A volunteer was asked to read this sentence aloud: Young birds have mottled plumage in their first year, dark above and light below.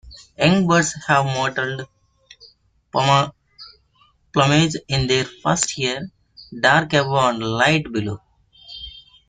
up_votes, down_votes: 1, 2